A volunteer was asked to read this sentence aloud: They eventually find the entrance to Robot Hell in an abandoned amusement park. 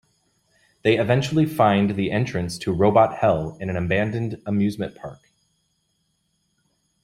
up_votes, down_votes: 2, 0